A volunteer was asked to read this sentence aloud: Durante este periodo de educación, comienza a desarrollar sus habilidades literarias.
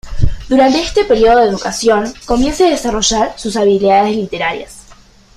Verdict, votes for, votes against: accepted, 2, 0